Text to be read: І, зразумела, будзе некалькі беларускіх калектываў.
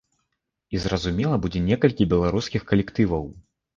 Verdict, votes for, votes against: accepted, 2, 0